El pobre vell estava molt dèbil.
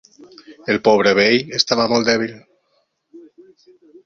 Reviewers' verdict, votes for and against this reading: accepted, 2, 0